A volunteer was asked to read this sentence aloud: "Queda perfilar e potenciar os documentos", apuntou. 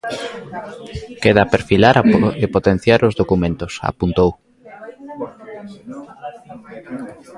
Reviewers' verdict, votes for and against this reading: rejected, 0, 2